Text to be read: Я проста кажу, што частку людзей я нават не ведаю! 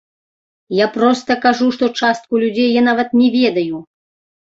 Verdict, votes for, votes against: rejected, 0, 2